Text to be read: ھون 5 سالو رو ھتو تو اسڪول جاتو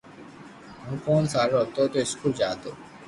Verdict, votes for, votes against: rejected, 0, 2